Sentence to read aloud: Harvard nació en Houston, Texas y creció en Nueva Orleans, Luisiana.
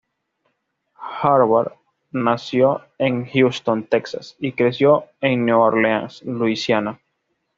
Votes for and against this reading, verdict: 2, 0, accepted